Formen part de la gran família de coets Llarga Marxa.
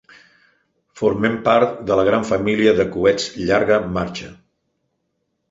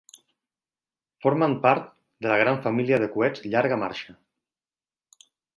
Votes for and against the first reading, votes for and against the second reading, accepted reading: 1, 2, 3, 0, second